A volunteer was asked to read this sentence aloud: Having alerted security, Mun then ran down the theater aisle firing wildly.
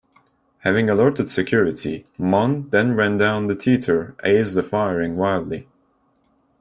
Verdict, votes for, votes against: rejected, 0, 2